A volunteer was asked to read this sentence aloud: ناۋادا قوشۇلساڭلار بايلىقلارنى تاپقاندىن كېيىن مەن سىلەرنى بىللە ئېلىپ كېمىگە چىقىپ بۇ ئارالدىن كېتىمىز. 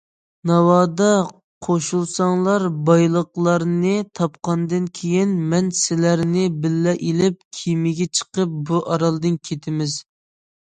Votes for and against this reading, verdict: 2, 0, accepted